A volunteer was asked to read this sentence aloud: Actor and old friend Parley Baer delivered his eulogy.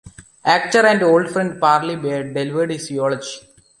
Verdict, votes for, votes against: rejected, 0, 2